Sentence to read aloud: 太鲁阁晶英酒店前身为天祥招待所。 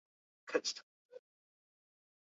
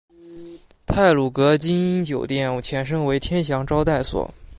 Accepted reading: second